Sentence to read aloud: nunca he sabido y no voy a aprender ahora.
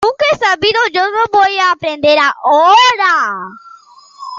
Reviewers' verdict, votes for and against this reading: rejected, 0, 2